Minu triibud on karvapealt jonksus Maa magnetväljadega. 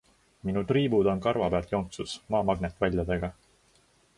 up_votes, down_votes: 2, 0